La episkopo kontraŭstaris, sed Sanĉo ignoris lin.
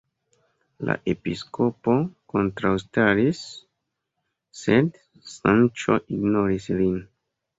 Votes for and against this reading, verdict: 2, 0, accepted